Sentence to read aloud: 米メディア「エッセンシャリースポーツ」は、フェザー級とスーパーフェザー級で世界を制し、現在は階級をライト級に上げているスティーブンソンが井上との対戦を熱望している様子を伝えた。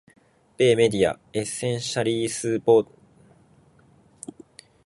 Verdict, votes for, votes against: rejected, 0, 4